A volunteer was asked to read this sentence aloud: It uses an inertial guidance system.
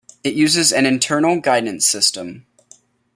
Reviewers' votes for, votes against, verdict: 1, 2, rejected